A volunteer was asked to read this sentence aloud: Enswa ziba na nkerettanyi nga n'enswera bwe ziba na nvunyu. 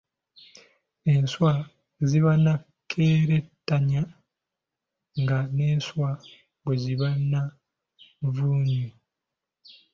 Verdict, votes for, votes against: rejected, 1, 2